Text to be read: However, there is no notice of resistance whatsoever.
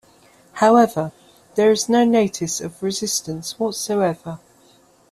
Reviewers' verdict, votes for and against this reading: accepted, 2, 0